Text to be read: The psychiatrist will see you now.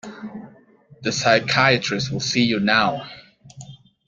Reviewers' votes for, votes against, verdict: 2, 0, accepted